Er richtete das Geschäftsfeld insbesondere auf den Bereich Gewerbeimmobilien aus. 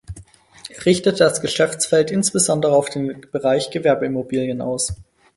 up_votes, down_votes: 2, 4